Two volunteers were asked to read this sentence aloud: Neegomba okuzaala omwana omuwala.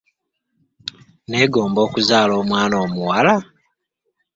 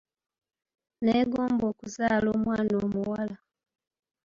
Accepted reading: first